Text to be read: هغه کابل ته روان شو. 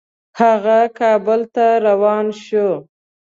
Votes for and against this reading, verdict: 2, 0, accepted